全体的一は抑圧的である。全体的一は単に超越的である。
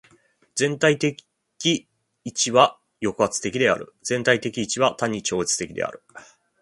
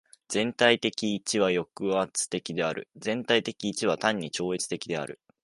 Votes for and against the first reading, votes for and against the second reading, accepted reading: 1, 2, 2, 0, second